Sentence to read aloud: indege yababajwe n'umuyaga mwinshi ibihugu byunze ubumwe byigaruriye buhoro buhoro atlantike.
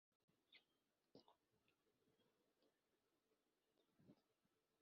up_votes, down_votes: 1, 2